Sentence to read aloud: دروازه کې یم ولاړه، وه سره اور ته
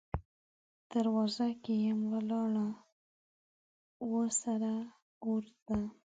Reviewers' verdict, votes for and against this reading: rejected, 1, 2